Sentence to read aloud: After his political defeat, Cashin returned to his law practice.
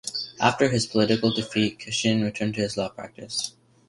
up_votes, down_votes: 3, 0